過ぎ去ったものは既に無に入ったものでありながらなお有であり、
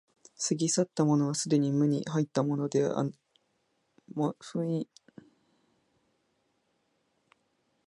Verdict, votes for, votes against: rejected, 0, 2